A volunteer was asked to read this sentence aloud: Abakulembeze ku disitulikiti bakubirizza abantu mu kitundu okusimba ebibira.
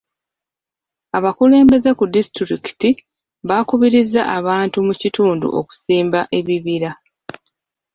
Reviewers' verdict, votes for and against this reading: rejected, 0, 2